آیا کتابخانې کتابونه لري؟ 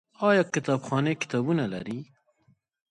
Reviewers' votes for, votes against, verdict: 2, 1, accepted